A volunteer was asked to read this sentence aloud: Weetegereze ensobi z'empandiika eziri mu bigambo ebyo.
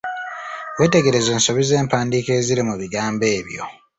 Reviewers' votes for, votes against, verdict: 2, 0, accepted